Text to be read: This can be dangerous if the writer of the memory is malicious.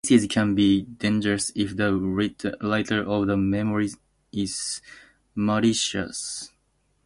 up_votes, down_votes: 0, 2